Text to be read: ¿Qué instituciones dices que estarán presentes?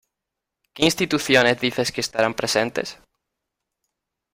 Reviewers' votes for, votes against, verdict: 2, 0, accepted